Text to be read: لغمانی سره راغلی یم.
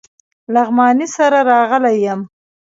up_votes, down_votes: 0, 2